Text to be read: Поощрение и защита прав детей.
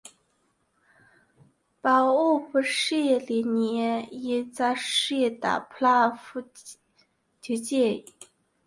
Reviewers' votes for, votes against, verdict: 0, 2, rejected